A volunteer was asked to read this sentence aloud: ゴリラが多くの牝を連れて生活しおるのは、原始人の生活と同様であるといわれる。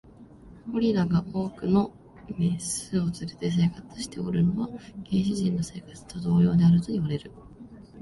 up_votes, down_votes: 0, 3